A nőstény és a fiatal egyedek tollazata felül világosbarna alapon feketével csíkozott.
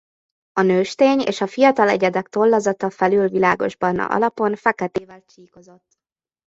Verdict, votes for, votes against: rejected, 0, 2